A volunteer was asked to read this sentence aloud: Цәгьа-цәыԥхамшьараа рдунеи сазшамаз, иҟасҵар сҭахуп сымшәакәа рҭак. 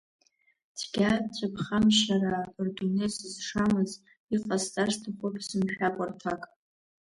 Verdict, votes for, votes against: accepted, 2, 0